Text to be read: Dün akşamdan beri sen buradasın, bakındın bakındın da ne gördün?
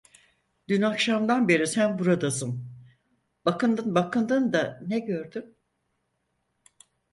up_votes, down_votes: 4, 0